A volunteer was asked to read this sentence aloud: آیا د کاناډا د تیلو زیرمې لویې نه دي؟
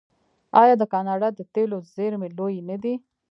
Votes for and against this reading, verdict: 1, 2, rejected